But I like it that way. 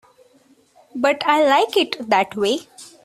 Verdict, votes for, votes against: accepted, 2, 0